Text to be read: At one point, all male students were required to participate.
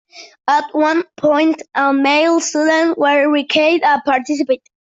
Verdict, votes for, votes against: rejected, 1, 2